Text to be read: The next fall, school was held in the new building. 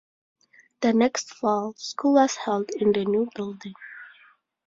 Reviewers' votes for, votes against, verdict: 2, 0, accepted